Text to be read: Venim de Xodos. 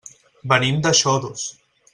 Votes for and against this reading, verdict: 2, 0, accepted